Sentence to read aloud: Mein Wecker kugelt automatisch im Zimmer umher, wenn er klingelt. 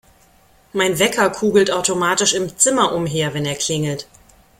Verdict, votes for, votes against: accepted, 2, 0